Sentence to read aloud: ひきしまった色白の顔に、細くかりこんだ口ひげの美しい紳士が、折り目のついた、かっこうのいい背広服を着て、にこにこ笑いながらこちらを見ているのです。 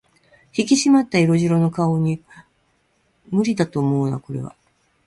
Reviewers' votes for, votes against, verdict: 0, 2, rejected